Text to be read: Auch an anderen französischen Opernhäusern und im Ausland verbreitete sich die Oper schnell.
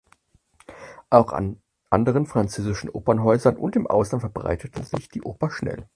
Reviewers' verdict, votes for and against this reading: accepted, 4, 0